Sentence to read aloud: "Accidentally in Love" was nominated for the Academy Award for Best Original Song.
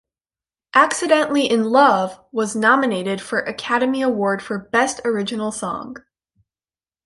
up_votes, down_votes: 2, 1